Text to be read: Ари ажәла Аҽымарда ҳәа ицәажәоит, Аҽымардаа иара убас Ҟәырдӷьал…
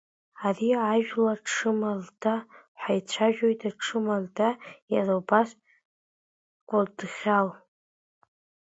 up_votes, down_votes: 0, 2